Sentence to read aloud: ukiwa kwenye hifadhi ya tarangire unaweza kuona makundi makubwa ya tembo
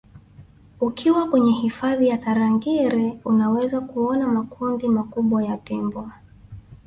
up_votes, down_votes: 0, 2